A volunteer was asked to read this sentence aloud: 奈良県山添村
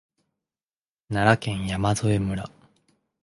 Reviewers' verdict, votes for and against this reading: accepted, 2, 0